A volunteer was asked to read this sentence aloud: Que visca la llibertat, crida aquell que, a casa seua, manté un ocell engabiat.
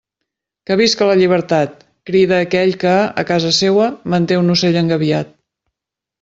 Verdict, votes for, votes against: accepted, 2, 0